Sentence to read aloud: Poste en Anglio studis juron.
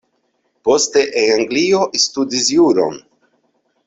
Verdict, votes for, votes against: rejected, 1, 2